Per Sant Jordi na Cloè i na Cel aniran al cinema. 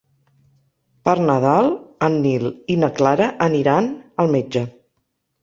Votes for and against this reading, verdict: 1, 2, rejected